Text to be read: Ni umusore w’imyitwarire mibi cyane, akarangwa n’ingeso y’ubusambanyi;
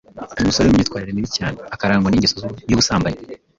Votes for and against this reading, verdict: 1, 2, rejected